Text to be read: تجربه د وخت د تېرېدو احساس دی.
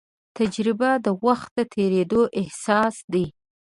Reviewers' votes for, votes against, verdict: 8, 0, accepted